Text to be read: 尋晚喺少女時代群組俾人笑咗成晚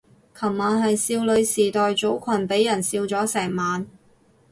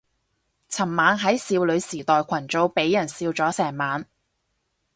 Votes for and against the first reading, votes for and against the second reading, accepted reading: 0, 4, 4, 0, second